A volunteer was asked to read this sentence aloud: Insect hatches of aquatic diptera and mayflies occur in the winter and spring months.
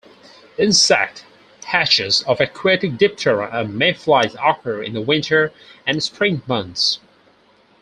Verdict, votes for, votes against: rejected, 2, 4